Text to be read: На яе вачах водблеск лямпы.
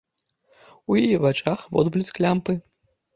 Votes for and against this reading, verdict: 0, 2, rejected